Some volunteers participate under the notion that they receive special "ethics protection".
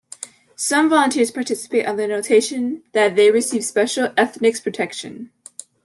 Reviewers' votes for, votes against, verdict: 1, 2, rejected